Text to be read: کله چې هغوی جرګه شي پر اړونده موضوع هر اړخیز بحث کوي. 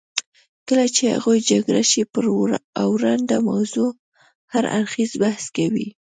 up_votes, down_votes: 1, 2